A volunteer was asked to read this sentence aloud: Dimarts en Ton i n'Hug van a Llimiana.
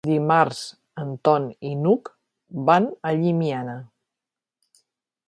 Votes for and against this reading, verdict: 3, 0, accepted